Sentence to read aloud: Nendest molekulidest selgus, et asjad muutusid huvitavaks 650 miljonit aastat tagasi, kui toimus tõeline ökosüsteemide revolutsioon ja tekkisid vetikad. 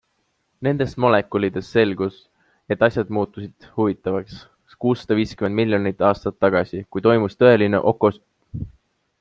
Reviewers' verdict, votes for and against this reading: rejected, 0, 2